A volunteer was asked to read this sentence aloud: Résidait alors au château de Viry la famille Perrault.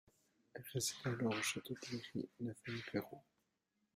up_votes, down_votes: 0, 2